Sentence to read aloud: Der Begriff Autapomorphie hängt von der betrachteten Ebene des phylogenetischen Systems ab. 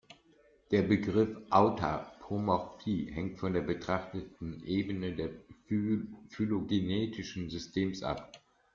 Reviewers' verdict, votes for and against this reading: accepted, 2, 0